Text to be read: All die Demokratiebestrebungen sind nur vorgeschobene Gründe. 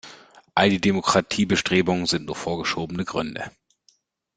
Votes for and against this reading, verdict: 2, 0, accepted